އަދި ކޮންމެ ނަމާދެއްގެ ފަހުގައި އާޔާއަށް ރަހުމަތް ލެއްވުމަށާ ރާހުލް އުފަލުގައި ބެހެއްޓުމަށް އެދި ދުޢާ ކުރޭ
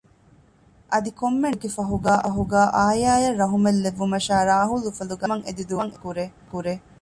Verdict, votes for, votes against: rejected, 0, 2